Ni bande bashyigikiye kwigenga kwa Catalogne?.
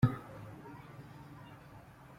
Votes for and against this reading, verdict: 0, 2, rejected